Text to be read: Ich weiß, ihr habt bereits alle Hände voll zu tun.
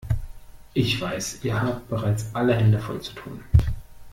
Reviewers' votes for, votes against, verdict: 2, 0, accepted